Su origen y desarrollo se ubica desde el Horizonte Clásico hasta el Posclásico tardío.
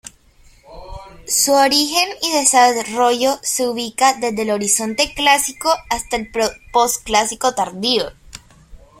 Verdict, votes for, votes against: rejected, 0, 2